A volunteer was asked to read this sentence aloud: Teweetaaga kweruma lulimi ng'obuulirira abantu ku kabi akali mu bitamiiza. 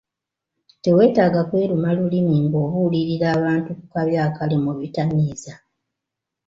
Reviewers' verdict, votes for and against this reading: accepted, 2, 0